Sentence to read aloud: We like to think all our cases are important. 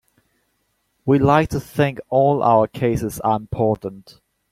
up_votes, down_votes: 2, 1